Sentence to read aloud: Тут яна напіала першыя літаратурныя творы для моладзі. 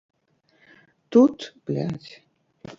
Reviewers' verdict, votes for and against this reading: rejected, 0, 2